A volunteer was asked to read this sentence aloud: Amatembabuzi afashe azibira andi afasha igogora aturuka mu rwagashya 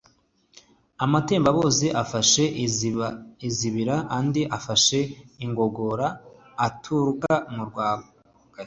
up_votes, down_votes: 1, 2